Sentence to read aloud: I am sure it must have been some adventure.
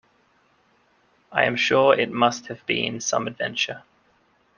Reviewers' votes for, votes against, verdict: 2, 0, accepted